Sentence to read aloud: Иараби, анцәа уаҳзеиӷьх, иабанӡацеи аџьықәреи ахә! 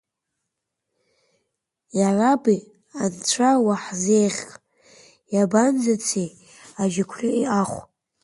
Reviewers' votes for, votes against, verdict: 1, 2, rejected